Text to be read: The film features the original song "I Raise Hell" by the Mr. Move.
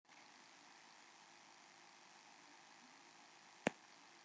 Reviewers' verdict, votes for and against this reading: rejected, 0, 2